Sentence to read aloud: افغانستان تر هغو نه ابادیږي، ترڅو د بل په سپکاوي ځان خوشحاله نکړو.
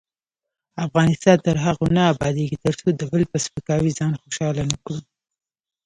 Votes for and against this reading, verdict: 0, 2, rejected